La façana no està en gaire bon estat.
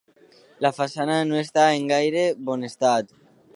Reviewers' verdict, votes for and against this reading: accepted, 2, 0